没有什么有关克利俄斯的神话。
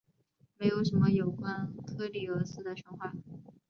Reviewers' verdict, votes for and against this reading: accepted, 2, 0